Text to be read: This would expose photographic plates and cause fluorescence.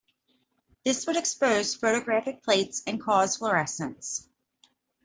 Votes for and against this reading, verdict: 2, 0, accepted